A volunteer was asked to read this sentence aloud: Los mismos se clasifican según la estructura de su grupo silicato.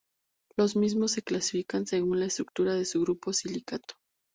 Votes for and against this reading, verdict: 2, 0, accepted